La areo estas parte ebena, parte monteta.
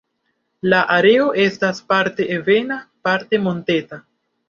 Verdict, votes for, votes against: accepted, 2, 0